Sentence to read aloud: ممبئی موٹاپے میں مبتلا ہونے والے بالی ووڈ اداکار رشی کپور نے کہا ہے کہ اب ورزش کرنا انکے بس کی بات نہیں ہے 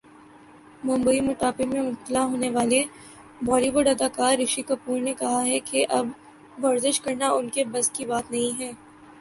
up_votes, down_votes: 2, 1